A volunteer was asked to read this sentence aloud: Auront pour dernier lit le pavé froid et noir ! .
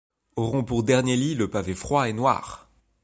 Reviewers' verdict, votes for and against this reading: accepted, 2, 0